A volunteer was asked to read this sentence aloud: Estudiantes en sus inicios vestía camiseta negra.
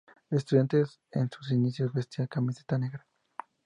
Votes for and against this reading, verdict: 2, 0, accepted